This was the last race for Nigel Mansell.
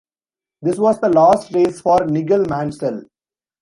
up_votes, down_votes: 1, 2